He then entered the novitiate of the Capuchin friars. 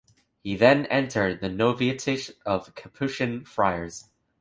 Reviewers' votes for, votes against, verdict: 1, 2, rejected